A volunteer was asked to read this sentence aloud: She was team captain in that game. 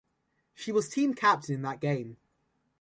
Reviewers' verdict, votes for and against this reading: accepted, 2, 0